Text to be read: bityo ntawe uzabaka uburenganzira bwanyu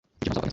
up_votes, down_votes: 1, 2